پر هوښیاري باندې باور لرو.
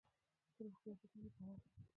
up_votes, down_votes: 1, 2